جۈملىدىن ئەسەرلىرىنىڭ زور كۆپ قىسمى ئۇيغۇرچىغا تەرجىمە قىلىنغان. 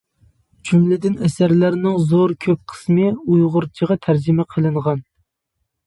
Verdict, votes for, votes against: rejected, 1, 2